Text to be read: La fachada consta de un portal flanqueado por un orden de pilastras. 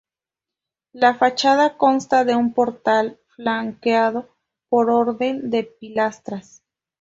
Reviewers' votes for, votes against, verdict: 0, 4, rejected